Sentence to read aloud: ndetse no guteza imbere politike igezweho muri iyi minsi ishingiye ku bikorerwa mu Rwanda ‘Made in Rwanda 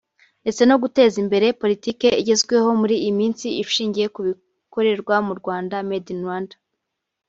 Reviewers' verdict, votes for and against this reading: rejected, 0, 2